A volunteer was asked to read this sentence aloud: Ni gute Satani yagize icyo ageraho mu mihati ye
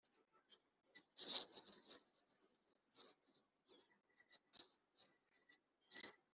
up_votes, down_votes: 0, 3